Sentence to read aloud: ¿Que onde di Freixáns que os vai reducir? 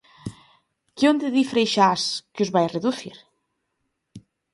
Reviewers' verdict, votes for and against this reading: rejected, 1, 2